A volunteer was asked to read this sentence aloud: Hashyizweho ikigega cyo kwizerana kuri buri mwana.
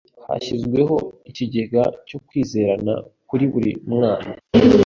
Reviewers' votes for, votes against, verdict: 2, 0, accepted